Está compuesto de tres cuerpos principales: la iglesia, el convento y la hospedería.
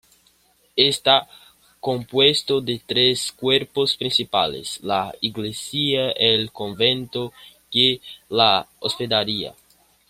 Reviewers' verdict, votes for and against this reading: accepted, 2, 0